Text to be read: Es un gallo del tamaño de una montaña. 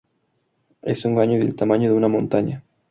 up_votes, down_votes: 2, 0